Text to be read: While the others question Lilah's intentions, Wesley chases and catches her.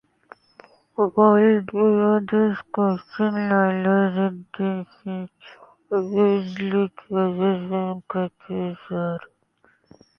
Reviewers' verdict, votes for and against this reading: rejected, 0, 2